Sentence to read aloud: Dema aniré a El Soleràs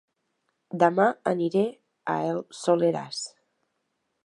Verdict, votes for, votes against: accepted, 2, 0